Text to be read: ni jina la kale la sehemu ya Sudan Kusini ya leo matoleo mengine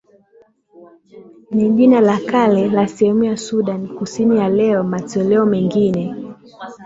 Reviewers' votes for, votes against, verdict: 8, 2, accepted